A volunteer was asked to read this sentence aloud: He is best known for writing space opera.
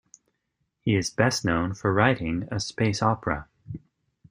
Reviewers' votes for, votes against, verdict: 0, 2, rejected